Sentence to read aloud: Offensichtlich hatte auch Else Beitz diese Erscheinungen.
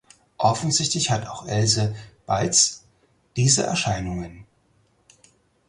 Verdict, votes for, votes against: rejected, 2, 4